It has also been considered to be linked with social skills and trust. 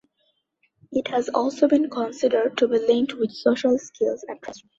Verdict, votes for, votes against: rejected, 1, 2